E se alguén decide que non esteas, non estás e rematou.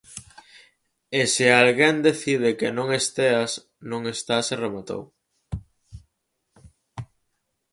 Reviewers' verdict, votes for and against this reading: accepted, 4, 0